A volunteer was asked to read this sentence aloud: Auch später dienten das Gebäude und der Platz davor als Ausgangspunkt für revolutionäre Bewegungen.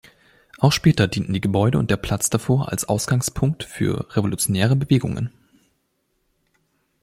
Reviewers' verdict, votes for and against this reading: rejected, 0, 2